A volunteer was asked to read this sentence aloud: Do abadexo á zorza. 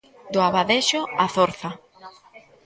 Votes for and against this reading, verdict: 0, 2, rejected